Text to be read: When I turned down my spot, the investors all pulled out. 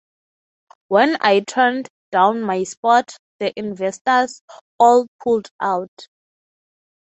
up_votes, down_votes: 3, 0